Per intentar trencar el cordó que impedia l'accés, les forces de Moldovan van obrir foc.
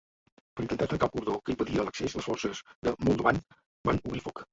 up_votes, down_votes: 3, 2